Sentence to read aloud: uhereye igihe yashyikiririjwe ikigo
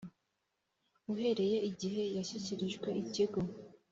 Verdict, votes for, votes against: accepted, 3, 0